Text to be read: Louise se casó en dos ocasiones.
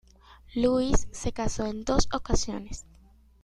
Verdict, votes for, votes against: accepted, 2, 0